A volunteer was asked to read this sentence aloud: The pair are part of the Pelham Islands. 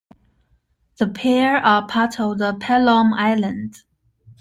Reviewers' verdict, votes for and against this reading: accepted, 2, 0